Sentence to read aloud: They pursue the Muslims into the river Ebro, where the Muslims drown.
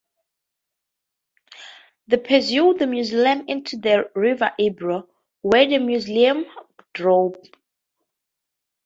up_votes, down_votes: 0, 2